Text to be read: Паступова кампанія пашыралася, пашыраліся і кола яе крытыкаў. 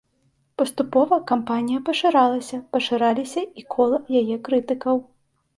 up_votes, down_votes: 2, 0